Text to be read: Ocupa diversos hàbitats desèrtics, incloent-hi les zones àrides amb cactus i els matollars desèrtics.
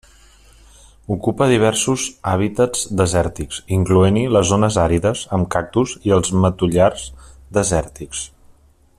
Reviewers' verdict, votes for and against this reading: rejected, 0, 2